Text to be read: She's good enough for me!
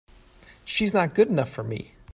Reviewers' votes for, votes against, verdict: 0, 2, rejected